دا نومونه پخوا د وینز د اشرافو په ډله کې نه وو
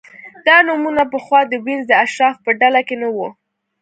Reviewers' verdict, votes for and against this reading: accepted, 2, 0